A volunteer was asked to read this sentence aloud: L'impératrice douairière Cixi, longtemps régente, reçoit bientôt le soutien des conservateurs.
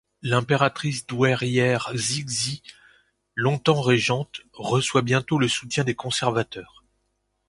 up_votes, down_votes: 1, 2